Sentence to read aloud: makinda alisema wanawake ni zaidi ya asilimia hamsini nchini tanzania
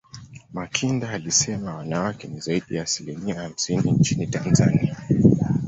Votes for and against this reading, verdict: 2, 1, accepted